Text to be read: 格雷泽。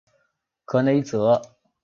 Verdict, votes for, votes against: accepted, 2, 0